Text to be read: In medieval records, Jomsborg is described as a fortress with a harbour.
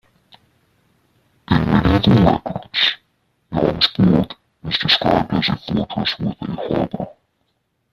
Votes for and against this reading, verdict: 0, 2, rejected